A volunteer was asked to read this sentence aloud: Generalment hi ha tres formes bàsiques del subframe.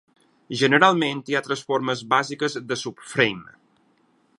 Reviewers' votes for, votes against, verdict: 4, 2, accepted